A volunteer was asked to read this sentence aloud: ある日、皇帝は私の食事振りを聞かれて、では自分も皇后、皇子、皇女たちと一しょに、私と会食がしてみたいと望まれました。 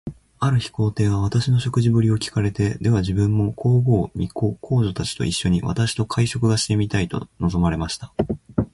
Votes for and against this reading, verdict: 0, 2, rejected